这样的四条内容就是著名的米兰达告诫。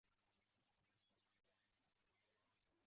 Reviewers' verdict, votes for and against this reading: rejected, 1, 2